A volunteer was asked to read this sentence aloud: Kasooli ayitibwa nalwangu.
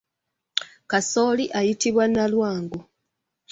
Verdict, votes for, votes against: accepted, 2, 1